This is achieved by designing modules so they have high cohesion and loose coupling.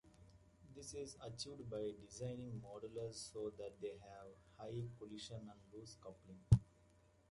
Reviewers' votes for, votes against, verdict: 1, 2, rejected